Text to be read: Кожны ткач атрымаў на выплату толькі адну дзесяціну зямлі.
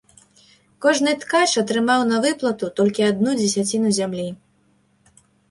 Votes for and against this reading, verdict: 2, 0, accepted